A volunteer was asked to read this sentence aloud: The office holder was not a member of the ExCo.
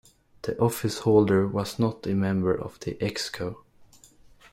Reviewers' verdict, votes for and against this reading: accepted, 2, 0